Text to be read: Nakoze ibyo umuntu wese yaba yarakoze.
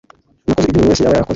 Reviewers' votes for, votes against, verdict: 1, 2, rejected